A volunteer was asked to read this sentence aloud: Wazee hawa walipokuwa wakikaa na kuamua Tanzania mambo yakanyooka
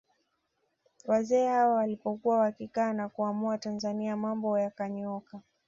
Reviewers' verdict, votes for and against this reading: accepted, 2, 0